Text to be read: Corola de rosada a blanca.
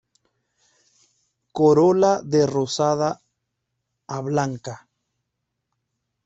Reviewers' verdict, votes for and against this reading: rejected, 1, 2